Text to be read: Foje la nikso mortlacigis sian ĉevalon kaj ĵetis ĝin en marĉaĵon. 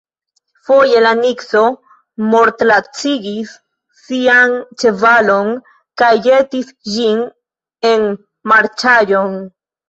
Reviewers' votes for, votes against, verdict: 1, 2, rejected